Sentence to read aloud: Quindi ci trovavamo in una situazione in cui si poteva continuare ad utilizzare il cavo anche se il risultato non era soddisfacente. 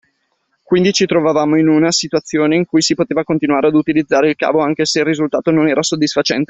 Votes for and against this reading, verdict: 2, 0, accepted